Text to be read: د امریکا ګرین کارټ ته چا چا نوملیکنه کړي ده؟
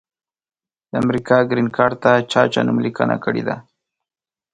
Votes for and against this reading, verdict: 2, 0, accepted